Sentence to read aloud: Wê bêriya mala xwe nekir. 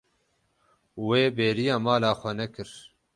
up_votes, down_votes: 12, 0